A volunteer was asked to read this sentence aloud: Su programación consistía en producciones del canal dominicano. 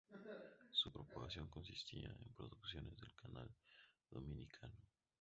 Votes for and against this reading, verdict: 2, 0, accepted